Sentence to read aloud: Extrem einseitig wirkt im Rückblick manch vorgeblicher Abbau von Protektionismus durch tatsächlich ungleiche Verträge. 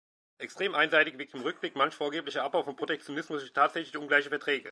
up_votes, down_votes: 2, 1